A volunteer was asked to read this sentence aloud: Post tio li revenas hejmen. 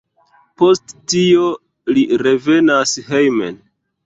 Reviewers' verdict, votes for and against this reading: accepted, 2, 0